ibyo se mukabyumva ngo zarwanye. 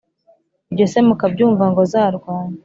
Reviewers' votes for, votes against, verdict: 2, 0, accepted